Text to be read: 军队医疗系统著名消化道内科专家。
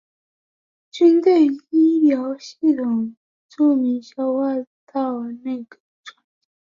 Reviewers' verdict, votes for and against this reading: rejected, 2, 3